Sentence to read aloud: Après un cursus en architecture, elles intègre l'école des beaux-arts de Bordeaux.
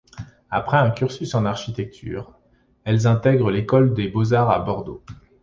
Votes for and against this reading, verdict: 0, 2, rejected